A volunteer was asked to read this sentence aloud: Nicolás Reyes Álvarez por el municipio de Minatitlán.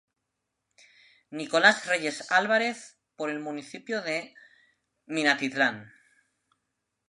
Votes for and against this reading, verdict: 3, 0, accepted